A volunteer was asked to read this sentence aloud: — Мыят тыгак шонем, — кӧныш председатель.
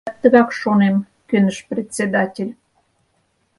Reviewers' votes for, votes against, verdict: 0, 4, rejected